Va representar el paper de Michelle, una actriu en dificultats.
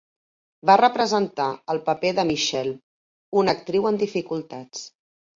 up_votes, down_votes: 2, 0